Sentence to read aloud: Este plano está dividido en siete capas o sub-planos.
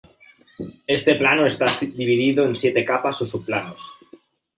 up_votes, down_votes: 0, 2